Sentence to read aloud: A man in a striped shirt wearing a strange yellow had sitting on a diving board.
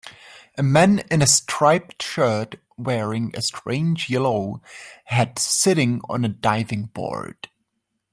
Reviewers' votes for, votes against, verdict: 2, 1, accepted